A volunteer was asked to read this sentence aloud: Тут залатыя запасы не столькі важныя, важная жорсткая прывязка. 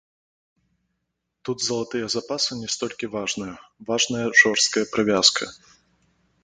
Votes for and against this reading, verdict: 2, 0, accepted